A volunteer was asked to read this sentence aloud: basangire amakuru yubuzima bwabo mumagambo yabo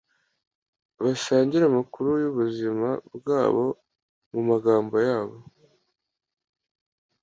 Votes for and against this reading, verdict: 2, 0, accepted